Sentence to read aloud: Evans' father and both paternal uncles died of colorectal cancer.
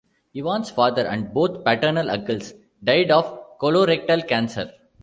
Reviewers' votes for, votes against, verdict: 2, 0, accepted